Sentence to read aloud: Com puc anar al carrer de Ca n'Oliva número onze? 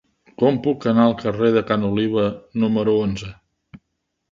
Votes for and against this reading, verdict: 2, 0, accepted